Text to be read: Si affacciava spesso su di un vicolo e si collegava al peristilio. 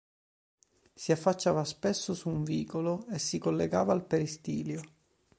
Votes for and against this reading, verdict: 1, 2, rejected